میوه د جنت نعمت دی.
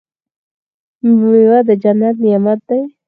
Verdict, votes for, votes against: rejected, 0, 4